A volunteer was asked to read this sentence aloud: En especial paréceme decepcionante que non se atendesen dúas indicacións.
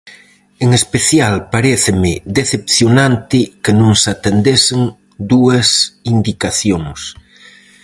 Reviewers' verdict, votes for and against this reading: accepted, 4, 0